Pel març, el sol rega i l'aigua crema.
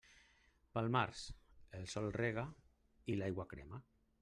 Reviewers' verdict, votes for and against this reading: rejected, 1, 2